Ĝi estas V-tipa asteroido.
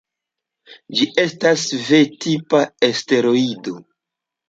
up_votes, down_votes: 0, 2